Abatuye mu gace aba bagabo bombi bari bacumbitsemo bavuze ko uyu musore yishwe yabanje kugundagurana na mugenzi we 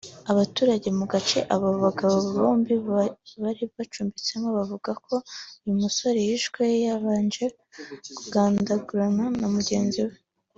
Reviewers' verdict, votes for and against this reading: accepted, 2, 0